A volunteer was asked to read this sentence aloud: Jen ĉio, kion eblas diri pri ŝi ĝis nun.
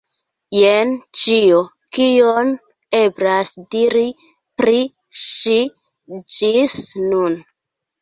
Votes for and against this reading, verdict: 2, 0, accepted